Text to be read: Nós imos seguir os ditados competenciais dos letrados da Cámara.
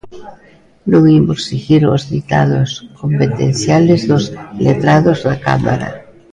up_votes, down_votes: 0, 2